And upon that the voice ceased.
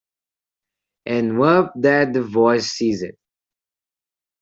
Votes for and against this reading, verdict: 0, 2, rejected